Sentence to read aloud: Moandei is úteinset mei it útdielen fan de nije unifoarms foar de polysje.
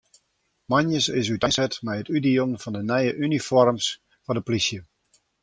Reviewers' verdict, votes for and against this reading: rejected, 0, 2